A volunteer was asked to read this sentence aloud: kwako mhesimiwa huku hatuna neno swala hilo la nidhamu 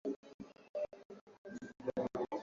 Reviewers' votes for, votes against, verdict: 0, 2, rejected